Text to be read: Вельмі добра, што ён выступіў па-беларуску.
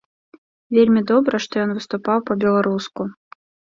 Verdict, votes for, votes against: rejected, 0, 2